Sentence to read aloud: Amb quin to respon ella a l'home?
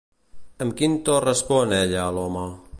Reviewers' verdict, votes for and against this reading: accepted, 2, 0